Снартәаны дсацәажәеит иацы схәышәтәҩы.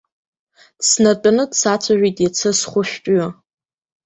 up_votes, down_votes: 0, 2